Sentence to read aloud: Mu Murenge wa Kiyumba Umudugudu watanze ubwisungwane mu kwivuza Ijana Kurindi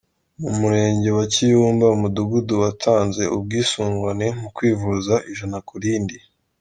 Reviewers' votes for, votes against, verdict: 2, 1, accepted